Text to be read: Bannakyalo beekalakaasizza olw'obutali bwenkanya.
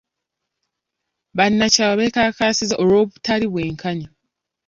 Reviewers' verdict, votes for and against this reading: accepted, 2, 0